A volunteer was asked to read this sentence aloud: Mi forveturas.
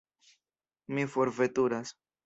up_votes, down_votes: 2, 0